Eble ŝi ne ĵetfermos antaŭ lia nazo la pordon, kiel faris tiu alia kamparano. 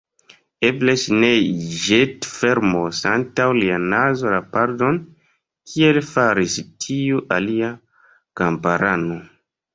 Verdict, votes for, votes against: rejected, 0, 2